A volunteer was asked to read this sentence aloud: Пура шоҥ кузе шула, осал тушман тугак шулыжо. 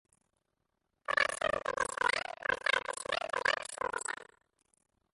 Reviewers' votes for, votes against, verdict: 0, 2, rejected